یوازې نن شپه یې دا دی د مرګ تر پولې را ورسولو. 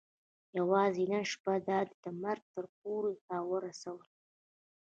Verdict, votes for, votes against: accepted, 2, 0